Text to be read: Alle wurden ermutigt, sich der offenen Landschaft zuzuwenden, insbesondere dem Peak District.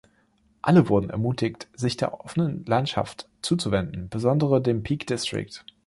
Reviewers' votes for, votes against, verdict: 1, 3, rejected